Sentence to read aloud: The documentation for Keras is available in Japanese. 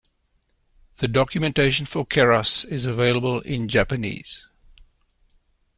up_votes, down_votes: 2, 0